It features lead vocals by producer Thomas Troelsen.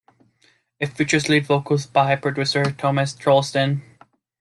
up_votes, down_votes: 0, 2